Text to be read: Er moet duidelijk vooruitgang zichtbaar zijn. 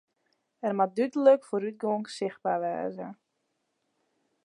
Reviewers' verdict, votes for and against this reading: rejected, 0, 2